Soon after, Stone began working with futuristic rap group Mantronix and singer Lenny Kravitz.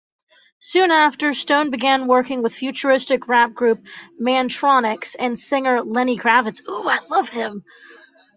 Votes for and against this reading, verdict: 1, 2, rejected